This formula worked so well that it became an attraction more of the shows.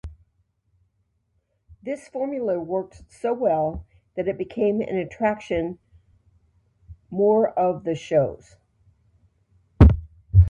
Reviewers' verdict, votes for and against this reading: accepted, 2, 0